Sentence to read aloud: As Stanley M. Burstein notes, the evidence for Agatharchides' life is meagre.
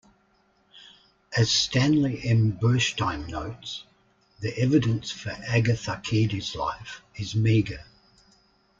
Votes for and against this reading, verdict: 2, 0, accepted